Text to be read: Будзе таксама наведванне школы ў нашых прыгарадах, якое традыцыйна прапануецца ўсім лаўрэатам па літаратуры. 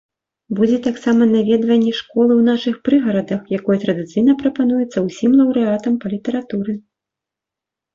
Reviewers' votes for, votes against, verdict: 2, 0, accepted